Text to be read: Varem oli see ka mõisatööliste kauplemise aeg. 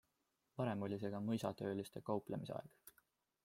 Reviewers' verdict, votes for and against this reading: accepted, 2, 0